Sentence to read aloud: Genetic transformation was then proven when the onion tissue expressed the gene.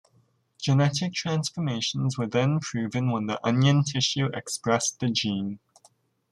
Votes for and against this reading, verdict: 1, 2, rejected